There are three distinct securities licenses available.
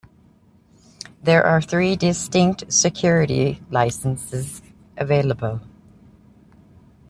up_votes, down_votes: 0, 2